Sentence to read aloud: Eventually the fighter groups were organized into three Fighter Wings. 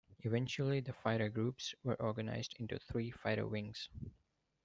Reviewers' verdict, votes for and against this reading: accepted, 2, 0